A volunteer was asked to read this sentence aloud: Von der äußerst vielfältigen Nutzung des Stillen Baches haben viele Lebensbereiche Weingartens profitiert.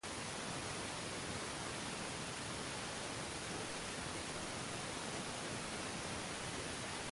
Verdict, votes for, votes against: rejected, 0, 2